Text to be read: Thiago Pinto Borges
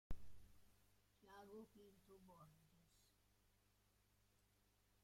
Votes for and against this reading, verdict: 0, 2, rejected